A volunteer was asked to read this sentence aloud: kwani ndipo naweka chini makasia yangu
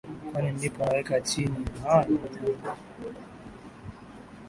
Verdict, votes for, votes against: rejected, 1, 5